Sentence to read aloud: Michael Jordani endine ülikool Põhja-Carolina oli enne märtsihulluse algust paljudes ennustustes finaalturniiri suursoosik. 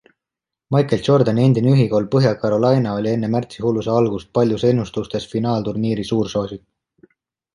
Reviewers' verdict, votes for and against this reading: accepted, 2, 1